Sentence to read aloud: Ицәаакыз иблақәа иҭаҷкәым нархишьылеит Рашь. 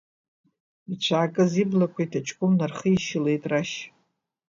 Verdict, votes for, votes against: accepted, 2, 1